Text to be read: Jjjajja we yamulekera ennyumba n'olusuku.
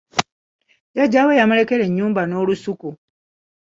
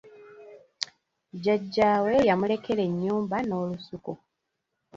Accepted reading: second